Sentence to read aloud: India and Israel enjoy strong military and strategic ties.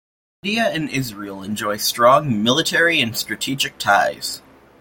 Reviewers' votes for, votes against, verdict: 0, 2, rejected